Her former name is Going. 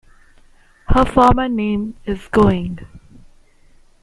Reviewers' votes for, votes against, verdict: 2, 0, accepted